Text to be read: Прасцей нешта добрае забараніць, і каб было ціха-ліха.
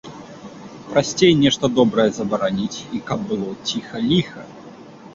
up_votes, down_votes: 2, 0